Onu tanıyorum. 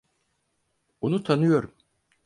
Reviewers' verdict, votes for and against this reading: accepted, 4, 0